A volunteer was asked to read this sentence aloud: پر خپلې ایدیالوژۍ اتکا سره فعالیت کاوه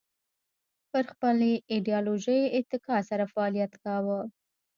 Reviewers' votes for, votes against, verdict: 2, 0, accepted